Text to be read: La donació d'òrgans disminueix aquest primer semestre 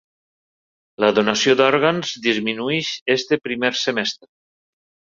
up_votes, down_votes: 1, 3